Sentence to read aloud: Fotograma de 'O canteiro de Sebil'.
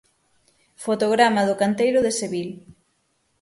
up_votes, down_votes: 6, 0